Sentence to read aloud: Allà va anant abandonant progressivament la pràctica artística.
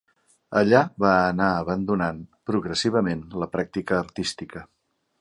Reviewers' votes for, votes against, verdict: 2, 1, accepted